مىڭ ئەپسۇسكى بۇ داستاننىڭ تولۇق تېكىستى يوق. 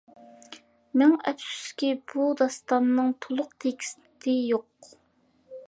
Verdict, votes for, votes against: accepted, 2, 1